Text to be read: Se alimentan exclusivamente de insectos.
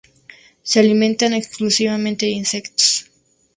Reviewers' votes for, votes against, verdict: 2, 0, accepted